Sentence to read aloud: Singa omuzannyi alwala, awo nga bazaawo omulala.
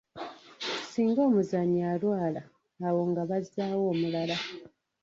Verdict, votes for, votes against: rejected, 0, 2